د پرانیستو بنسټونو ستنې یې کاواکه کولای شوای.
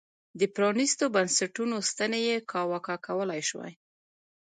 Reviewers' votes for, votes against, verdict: 2, 1, accepted